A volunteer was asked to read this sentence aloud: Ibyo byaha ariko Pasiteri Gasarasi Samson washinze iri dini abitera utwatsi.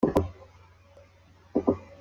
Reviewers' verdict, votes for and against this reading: rejected, 0, 2